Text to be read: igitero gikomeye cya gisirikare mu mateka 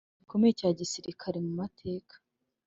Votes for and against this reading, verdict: 0, 2, rejected